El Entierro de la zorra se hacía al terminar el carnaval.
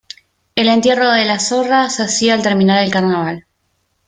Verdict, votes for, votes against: rejected, 1, 2